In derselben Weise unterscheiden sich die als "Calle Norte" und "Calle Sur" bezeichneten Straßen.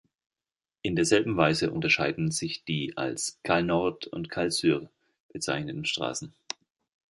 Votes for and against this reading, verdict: 0, 2, rejected